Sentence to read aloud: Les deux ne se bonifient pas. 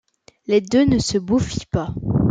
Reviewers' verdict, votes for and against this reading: rejected, 0, 2